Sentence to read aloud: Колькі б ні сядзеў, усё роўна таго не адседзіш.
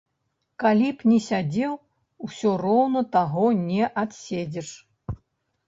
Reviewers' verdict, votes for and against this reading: rejected, 1, 2